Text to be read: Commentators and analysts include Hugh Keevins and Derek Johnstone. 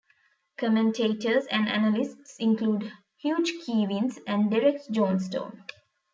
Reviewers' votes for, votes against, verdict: 0, 2, rejected